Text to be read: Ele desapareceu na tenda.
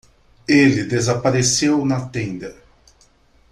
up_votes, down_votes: 2, 0